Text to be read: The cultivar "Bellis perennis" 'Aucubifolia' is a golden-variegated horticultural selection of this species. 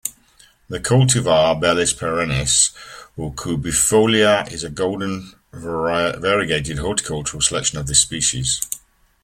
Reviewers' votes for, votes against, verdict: 1, 2, rejected